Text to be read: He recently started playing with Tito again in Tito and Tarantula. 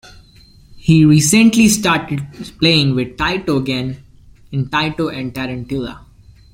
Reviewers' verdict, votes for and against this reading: rejected, 0, 2